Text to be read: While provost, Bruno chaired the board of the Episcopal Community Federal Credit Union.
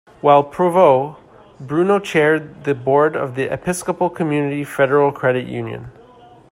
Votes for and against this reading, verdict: 0, 2, rejected